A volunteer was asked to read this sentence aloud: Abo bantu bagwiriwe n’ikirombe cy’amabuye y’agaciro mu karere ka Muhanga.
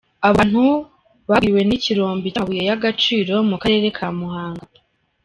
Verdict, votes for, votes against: rejected, 1, 2